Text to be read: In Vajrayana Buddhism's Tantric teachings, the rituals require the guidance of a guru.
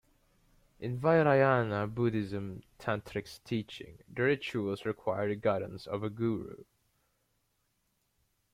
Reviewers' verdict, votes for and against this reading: rejected, 1, 2